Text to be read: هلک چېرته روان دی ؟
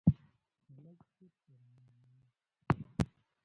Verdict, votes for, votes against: rejected, 0, 2